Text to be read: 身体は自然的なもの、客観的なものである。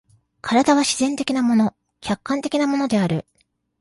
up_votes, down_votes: 2, 0